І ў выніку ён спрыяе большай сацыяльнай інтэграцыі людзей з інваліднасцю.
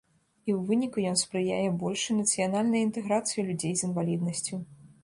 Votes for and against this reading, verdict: 1, 2, rejected